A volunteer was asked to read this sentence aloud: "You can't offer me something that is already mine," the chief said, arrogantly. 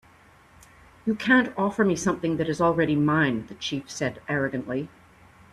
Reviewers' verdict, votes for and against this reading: accepted, 2, 0